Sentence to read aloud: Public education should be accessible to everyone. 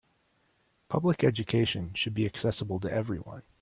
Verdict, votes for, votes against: accepted, 2, 0